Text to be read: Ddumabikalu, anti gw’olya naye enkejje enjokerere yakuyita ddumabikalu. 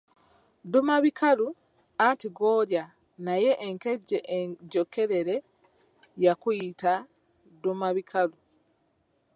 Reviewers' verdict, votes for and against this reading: accepted, 2, 0